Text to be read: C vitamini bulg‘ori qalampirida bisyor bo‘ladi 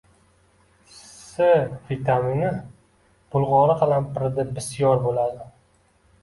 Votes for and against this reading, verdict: 2, 0, accepted